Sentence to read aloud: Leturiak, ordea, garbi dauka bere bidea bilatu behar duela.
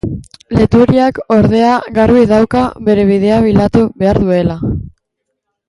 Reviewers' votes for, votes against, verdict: 0, 2, rejected